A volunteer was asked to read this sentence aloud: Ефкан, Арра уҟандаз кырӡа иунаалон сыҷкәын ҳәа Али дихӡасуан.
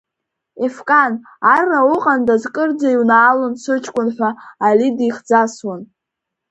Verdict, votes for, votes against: accepted, 2, 0